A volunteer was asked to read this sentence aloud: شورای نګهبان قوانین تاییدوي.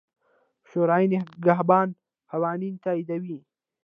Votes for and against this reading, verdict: 0, 2, rejected